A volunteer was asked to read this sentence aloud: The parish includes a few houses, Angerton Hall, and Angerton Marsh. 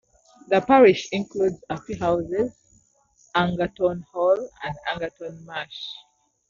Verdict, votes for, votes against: accepted, 2, 0